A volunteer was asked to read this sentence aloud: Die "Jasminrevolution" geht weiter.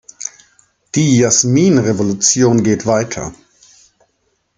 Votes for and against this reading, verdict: 2, 0, accepted